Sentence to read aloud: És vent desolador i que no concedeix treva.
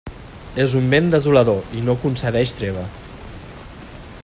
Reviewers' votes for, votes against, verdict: 0, 2, rejected